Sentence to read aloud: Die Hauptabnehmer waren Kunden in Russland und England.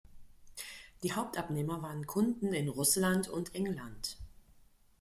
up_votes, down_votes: 2, 0